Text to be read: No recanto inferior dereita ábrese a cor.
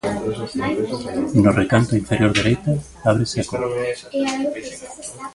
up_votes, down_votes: 2, 0